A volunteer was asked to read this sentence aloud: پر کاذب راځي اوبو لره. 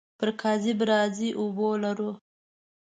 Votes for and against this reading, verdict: 1, 2, rejected